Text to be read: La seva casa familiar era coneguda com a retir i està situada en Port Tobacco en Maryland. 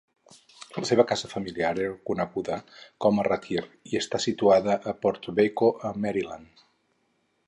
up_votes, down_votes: 2, 4